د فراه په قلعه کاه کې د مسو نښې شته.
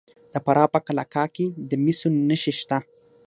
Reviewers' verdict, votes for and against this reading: accepted, 6, 0